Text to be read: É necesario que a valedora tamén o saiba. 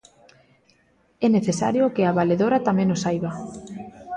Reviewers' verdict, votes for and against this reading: accepted, 2, 0